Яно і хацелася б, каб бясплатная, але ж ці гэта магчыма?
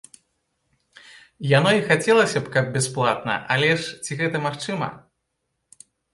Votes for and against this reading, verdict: 1, 2, rejected